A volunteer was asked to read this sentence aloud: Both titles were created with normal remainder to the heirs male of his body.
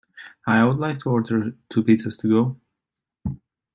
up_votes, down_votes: 0, 2